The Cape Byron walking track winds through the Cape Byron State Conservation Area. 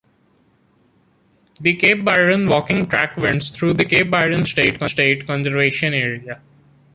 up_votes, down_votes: 0, 2